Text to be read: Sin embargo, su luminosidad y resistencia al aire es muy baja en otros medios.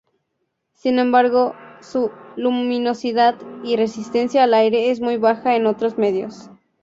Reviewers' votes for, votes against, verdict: 4, 0, accepted